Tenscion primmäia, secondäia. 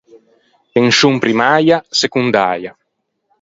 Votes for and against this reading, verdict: 2, 4, rejected